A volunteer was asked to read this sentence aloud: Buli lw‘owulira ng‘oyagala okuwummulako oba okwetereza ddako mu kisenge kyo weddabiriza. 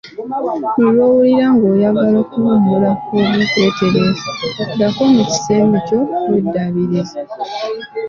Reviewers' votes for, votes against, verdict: 2, 1, accepted